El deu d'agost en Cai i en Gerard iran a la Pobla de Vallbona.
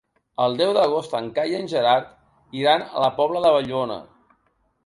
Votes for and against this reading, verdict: 1, 2, rejected